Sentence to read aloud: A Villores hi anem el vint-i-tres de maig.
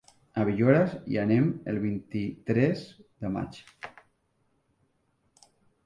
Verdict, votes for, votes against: rejected, 1, 3